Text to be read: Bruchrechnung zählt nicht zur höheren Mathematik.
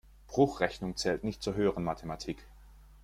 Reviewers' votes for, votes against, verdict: 2, 0, accepted